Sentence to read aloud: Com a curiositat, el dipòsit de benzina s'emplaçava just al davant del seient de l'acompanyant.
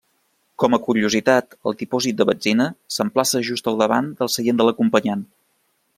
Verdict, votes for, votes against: rejected, 1, 2